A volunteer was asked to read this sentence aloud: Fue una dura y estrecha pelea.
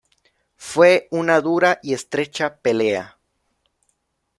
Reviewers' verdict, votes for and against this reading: accepted, 2, 0